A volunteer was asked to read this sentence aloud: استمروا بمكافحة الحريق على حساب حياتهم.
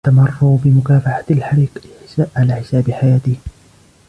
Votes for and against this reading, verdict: 1, 2, rejected